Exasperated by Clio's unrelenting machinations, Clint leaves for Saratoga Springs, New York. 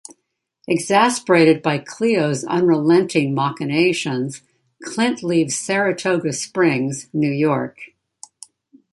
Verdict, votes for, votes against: rejected, 0, 2